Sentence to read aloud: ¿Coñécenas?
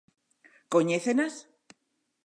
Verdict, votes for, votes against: accepted, 2, 0